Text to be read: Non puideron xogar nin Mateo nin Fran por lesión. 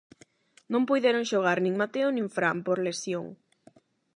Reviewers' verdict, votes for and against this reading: accepted, 8, 0